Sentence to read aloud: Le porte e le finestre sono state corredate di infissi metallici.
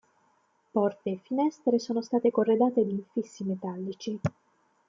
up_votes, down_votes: 1, 2